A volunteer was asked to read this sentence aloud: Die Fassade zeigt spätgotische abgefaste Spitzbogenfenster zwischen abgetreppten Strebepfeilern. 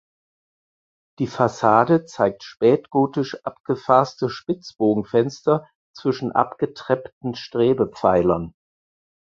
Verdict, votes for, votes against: rejected, 2, 4